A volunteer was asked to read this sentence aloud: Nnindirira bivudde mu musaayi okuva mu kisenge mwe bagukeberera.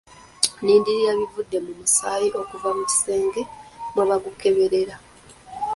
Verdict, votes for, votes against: accepted, 2, 0